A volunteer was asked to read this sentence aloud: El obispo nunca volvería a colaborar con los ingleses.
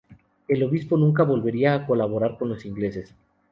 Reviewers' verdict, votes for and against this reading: accepted, 2, 0